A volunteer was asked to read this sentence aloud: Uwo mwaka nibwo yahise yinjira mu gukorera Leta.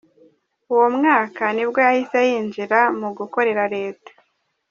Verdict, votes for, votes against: accepted, 3, 0